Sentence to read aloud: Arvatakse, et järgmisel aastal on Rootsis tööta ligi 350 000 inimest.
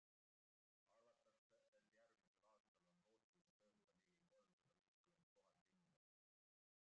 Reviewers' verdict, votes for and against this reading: rejected, 0, 2